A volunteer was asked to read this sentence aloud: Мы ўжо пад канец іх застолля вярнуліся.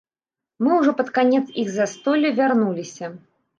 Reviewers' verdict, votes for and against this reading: rejected, 1, 2